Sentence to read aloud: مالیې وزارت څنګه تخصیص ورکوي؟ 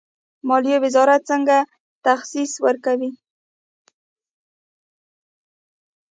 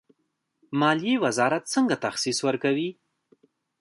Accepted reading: second